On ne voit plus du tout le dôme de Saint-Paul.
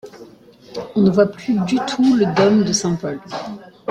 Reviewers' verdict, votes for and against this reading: accepted, 2, 0